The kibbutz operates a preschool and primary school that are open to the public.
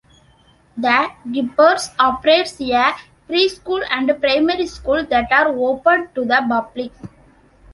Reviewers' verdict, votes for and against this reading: rejected, 1, 2